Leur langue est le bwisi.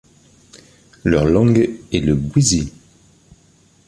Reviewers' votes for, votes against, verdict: 2, 0, accepted